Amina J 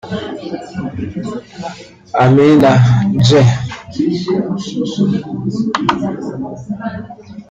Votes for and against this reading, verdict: 0, 3, rejected